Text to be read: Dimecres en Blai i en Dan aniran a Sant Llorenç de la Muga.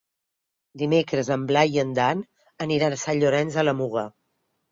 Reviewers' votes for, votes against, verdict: 6, 0, accepted